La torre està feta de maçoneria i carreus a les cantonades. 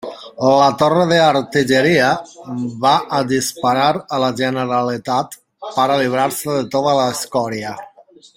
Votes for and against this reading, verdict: 0, 2, rejected